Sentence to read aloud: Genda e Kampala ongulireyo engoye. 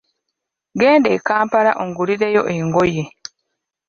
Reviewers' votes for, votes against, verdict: 2, 1, accepted